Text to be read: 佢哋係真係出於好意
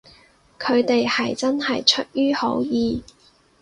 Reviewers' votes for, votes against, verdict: 4, 0, accepted